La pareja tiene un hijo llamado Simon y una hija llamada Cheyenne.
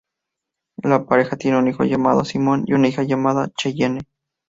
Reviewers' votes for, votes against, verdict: 4, 0, accepted